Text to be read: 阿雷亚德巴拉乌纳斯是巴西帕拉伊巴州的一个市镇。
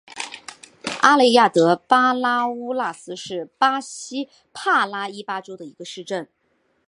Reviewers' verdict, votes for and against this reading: accepted, 8, 2